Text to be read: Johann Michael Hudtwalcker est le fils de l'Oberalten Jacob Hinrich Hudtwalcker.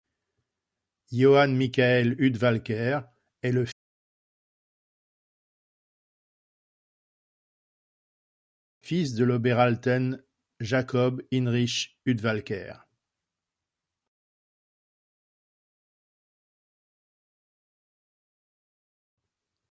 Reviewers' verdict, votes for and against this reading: rejected, 0, 2